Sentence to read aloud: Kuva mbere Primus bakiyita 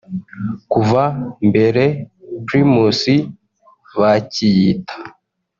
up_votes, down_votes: 1, 2